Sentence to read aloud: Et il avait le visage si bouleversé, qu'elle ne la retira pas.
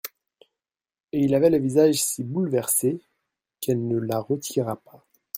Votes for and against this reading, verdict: 1, 2, rejected